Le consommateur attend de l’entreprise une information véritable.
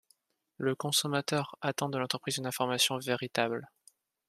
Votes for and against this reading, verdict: 2, 0, accepted